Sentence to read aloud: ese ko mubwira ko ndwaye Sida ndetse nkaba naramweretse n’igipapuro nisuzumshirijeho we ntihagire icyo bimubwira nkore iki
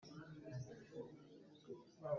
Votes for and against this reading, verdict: 0, 2, rejected